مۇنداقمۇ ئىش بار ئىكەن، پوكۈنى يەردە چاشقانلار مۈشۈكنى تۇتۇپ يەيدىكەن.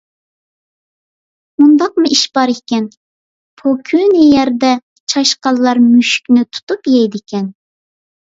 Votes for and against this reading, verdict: 2, 0, accepted